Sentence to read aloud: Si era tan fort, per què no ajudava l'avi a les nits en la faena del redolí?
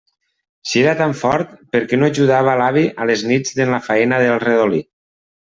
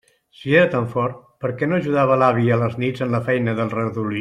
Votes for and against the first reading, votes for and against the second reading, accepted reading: 2, 0, 0, 2, first